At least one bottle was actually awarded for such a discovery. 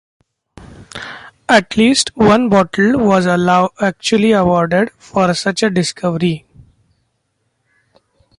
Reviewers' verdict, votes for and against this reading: rejected, 0, 2